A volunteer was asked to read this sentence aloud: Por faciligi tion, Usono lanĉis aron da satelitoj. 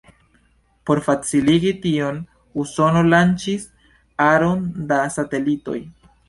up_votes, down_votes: 2, 0